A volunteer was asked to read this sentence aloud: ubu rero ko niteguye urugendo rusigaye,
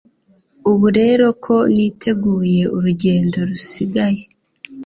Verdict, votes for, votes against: accepted, 2, 0